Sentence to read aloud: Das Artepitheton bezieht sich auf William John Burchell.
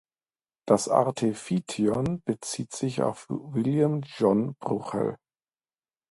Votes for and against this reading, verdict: 0, 2, rejected